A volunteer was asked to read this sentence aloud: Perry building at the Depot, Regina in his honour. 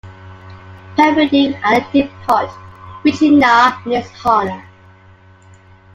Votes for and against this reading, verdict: 0, 2, rejected